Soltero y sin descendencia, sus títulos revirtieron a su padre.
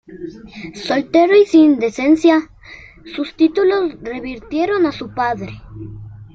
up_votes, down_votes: 2, 0